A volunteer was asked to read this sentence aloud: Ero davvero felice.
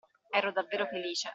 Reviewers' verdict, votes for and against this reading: accepted, 2, 0